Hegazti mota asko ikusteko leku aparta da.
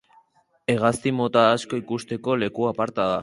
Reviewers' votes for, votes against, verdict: 6, 0, accepted